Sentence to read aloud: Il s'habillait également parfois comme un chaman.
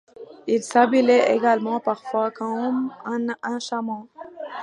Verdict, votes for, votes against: rejected, 1, 2